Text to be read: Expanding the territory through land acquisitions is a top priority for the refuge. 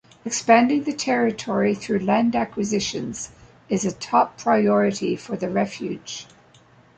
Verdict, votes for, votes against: accepted, 2, 0